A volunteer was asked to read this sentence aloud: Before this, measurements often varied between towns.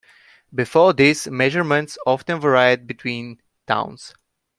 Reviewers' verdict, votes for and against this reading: rejected, 1, 2